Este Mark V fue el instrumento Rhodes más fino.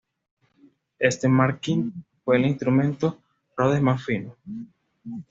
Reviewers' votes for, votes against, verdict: 2, 0, accepted